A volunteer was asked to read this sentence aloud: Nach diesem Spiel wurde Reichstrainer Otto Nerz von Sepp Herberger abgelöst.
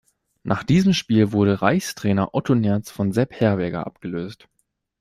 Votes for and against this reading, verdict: 2, 0, accepted